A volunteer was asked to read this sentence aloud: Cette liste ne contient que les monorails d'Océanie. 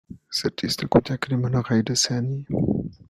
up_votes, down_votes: 1, 2